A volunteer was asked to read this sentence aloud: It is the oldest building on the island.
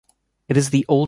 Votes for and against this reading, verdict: 0, 2, rejected